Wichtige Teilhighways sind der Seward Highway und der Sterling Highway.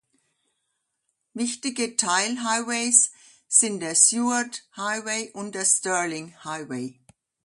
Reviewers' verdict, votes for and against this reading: accepted, 2, 0